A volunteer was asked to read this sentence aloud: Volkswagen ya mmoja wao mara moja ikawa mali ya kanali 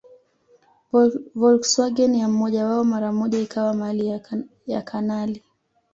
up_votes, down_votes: 1, 2